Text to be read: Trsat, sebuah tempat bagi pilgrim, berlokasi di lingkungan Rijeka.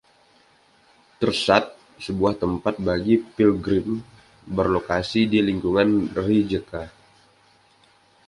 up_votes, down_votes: 2, 0